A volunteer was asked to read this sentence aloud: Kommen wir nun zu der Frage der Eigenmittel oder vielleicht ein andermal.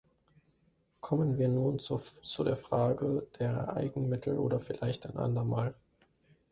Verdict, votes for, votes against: rejected, 2, 3